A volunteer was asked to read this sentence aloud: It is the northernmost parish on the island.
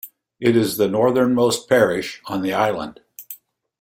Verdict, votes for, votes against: accepted, 2, 0